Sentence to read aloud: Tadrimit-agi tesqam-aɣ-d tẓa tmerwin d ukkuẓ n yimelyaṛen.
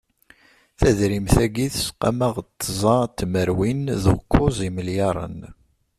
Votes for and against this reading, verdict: 1, 2, rejected